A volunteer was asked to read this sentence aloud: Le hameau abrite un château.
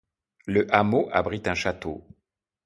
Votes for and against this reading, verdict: 2, 0, accepted